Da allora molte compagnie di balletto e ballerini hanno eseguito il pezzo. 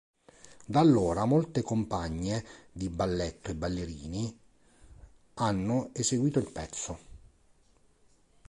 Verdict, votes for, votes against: rejected, 1, 2